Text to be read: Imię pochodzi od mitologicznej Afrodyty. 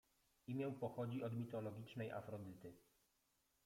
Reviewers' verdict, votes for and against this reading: rejected, 0, 2